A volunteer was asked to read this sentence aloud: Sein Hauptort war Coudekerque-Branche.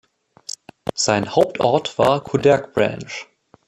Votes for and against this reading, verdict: 2, 1, accepted